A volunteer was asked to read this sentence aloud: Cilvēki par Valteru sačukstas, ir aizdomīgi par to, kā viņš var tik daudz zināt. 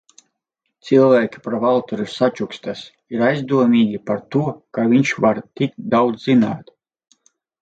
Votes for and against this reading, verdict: 2, 4, rejected